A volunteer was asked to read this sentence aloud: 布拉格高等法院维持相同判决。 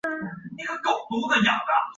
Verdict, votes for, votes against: rejected, 0, 2